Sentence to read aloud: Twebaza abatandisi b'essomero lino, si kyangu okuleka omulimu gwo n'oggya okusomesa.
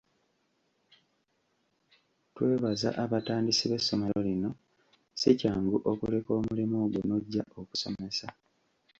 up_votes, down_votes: 2, 1